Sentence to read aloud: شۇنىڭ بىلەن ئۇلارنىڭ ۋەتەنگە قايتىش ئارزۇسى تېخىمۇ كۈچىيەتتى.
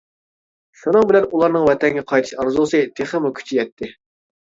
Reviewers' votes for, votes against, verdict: 2, 0, accepted